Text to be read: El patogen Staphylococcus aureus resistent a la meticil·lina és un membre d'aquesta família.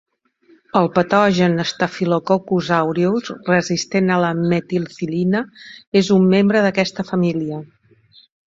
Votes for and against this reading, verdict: 1, 2, rejected